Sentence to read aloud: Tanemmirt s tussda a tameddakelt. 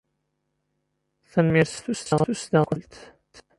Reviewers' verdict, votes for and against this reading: rejected, 0, 2